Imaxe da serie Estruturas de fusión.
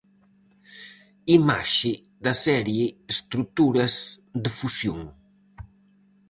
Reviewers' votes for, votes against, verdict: 4, 0, accepted